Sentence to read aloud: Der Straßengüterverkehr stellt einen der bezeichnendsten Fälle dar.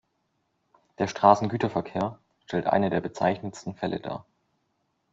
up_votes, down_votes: 1, 2